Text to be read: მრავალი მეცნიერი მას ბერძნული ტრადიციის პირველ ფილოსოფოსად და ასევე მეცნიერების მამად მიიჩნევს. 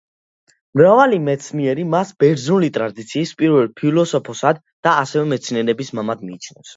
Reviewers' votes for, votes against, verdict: 1, 2, rejected